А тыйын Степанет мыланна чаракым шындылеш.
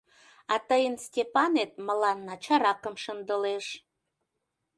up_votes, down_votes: 2, 0